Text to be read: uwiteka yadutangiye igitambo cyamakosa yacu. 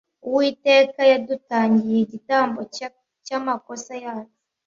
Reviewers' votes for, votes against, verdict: 1, 2, rejected